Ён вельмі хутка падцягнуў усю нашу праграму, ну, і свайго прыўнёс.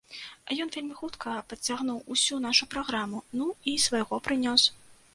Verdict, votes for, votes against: rejected, 1, 2